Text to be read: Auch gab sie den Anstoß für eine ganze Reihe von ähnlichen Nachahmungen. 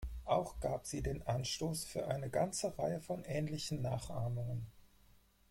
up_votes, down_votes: 2, 2